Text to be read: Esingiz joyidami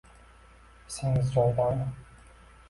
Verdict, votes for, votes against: rejected, 1, 2